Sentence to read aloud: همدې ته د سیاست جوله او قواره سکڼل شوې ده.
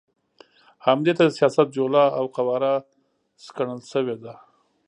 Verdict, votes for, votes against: accepted, 2, 0